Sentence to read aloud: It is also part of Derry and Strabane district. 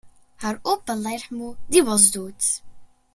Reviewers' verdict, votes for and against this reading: accepted, 2, 1